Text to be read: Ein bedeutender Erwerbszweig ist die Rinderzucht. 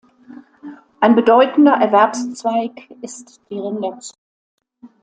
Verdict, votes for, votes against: rejected, 0, 2